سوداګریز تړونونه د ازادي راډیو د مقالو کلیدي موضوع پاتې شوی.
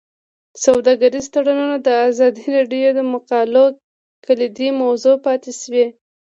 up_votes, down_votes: 2, 0